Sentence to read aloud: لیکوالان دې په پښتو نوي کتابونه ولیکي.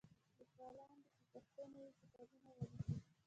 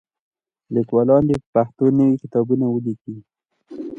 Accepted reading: second